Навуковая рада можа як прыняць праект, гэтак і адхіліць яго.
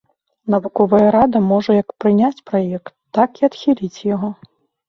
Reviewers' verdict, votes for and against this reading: rejected, 1, 2